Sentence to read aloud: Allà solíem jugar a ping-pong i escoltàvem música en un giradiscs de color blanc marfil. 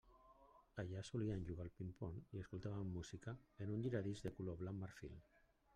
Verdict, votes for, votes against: rejected, 1, 2